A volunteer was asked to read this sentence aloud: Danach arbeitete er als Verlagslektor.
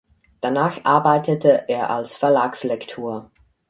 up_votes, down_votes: 4, 0